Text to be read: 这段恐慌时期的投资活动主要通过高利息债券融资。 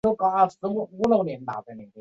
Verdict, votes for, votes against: rejected, 1, 2